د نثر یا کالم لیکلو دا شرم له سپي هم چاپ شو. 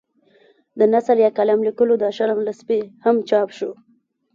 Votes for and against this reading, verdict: 1, 2, rejected